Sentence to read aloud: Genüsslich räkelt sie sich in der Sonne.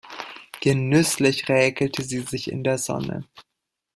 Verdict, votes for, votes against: rejected, 0, 2